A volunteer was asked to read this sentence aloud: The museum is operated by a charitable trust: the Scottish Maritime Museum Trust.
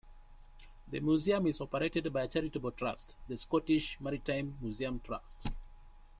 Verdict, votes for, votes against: rejected, 0, 2